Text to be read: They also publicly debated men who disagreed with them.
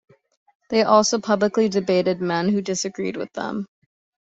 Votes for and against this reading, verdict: 2, 0, accepted